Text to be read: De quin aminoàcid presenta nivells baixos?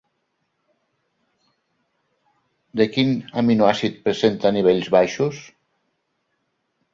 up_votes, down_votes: 2, 0